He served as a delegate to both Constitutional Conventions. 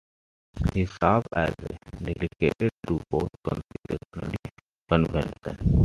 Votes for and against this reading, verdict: 1, 2, rejected